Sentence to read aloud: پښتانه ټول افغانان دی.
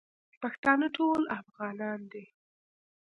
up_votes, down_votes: 2, 0